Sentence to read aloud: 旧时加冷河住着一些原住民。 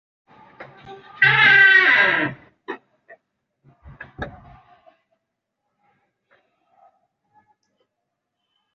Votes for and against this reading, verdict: 3, 4, rejected